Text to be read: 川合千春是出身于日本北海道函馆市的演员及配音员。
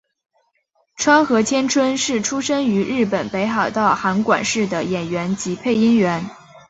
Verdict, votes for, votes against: accepted, 8, 0